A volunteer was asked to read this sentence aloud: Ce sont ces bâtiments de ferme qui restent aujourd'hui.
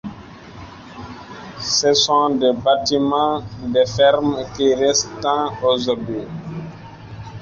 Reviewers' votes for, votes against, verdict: 0, 2, rejected